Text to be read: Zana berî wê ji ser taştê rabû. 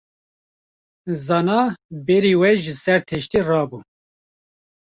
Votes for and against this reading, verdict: 0, 2, rejected